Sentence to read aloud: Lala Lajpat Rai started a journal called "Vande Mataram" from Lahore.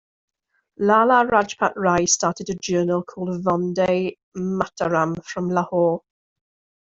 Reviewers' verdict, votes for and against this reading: rejected, 1, 2